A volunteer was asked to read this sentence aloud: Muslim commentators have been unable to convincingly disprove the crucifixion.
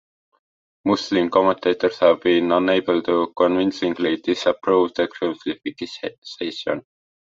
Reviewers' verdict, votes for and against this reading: rejected, 0, 2